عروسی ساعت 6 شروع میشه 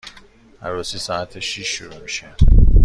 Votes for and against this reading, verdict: 0, 2, rejected